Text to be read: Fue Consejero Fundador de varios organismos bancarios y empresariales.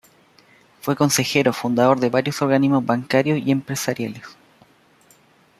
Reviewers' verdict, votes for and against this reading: accepted, 2, 0